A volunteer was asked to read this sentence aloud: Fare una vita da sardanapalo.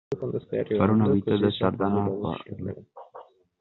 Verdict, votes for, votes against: rejected, 0, 2